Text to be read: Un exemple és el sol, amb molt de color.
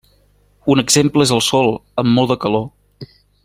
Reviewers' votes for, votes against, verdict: 1, 2, rejected